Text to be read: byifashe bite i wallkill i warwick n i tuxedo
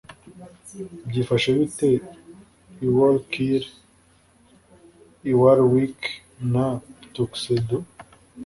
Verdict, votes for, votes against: accepted, 2, 1